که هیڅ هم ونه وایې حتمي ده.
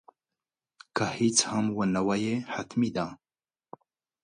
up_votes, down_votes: 2, 0